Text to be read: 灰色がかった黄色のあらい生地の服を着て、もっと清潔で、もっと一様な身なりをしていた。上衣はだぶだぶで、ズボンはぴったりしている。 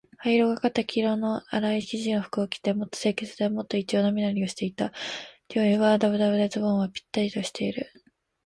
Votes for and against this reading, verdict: 3, 0, accepted